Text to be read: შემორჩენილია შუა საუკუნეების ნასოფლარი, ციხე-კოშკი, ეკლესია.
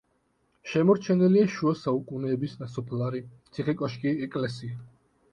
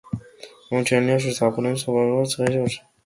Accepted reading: first